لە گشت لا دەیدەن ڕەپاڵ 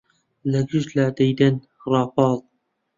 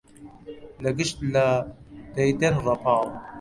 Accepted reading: second